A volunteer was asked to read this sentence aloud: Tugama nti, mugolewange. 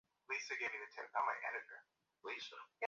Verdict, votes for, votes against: rejected, 0, 2